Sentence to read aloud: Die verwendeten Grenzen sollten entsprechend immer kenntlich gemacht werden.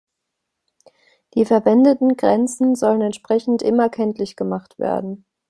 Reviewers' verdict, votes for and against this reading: rejected, 1, 2